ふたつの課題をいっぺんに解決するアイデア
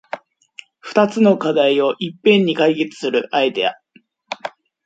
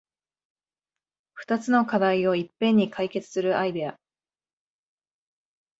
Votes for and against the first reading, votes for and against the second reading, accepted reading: 1, 2, 2, 0, second